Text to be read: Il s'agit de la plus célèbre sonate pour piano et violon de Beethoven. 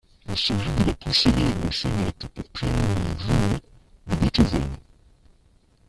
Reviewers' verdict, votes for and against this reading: rejected, 0, 2